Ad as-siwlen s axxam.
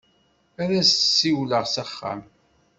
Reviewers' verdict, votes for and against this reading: rejected, 1, 2